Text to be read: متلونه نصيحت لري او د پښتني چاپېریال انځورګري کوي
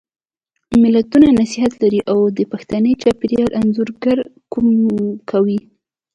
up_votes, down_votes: 2, 0